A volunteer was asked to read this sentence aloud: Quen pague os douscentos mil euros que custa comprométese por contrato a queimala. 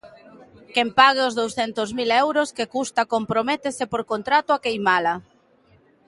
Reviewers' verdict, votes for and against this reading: accepted, 2, 0